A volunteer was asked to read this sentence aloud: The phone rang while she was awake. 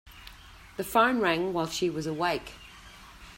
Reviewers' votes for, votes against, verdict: 2, 0, accepted